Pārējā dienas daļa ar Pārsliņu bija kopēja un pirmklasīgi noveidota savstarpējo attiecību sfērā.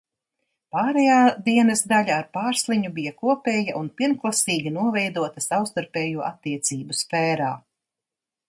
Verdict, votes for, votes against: accepted, 2, 0